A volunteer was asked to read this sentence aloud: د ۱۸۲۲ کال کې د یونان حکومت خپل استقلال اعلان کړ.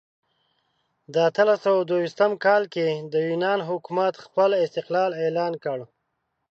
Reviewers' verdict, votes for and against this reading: rejected, 0, 2